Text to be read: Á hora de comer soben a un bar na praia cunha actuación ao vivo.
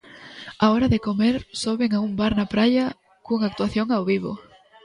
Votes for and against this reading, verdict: 2, 0, accepted